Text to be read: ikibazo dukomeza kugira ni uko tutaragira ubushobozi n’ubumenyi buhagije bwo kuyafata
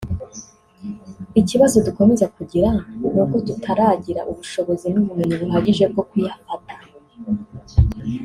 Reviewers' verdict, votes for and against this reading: accepted, 3, 0